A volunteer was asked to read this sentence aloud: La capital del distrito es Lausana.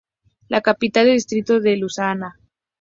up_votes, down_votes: 0, 4